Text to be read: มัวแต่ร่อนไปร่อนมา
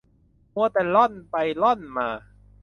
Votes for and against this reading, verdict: 2, 0, accepted